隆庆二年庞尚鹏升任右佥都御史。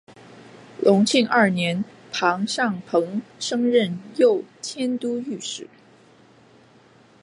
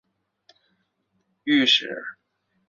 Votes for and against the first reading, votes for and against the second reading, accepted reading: 4, 1, 0, 2, first